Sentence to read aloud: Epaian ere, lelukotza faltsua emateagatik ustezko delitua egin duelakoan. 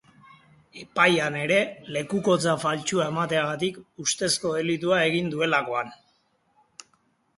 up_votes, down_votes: 4, 2